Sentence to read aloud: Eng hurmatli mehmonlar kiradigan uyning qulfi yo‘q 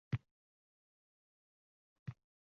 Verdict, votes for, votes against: rejected, 0, 2